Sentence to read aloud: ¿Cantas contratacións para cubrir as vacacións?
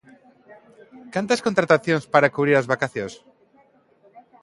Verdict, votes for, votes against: accepted, 2, 0